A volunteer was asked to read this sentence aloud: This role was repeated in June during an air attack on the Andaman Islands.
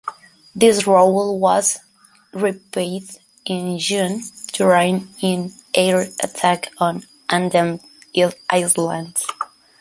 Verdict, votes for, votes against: rejected, 0, 2